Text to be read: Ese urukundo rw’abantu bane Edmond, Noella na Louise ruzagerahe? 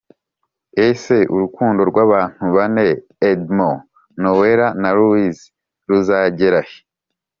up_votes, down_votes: 3, 0